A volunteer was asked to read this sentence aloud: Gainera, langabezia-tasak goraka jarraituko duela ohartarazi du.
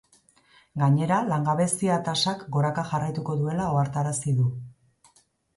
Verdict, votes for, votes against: accepted, 2, 0